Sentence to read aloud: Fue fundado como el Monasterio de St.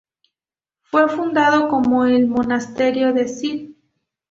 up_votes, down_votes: 2, 0